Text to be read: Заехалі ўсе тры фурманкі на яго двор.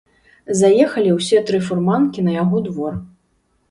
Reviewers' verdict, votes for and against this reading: accepted, 2, 0